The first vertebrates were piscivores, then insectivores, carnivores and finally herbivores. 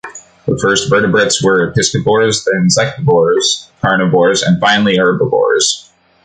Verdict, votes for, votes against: accepted, 2, 0